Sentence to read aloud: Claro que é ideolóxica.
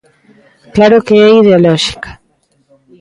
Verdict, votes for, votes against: accepted, 2, 0